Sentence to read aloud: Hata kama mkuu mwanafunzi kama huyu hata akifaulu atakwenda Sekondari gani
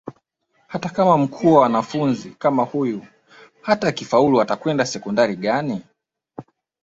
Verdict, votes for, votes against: rejected, 1, 2